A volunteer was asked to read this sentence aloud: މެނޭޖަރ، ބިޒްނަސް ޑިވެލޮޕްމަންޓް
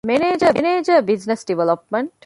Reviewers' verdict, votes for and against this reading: rejected, 0, 2